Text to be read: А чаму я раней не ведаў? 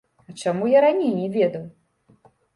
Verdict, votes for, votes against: rejected, 1, 2